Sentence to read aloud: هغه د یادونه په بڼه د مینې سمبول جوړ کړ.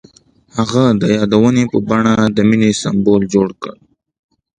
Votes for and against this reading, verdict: 1, 2, rejected